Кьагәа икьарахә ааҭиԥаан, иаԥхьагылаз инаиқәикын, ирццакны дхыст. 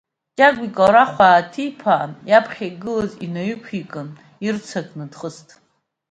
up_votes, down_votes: 2, 0